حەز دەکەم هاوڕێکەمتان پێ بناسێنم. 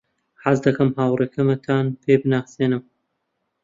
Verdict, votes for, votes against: rejected, 1, 2